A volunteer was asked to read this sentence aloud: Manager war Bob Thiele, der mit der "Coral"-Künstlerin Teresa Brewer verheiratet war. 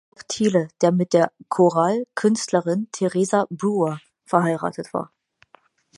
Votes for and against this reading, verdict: 0, 6, rejected